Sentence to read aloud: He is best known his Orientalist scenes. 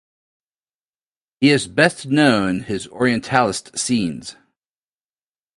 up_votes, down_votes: 2, 0